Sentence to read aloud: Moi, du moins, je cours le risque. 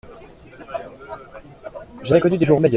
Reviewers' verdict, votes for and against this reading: rejected, 0, 2